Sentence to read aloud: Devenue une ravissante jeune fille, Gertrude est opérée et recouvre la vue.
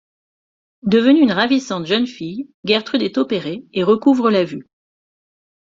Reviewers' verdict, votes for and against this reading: rejected, 1, 2